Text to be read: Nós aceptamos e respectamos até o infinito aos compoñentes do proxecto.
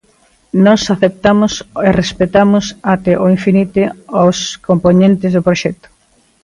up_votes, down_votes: 0, 2